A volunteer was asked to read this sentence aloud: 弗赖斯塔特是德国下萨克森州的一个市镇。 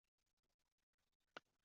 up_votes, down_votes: 0, 4